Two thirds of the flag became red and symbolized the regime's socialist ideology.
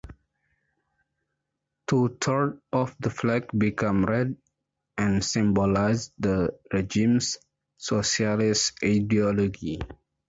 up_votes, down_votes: 1, 6